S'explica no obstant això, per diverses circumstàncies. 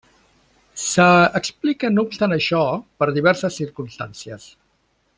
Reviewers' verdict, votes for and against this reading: rejected, 1, 2